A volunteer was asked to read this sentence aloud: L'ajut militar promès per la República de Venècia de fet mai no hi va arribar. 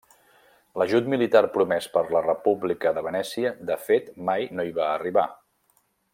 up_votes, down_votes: 3, 0